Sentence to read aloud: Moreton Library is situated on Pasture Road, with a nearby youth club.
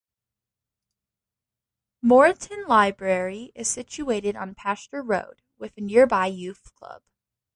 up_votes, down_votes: 2, 0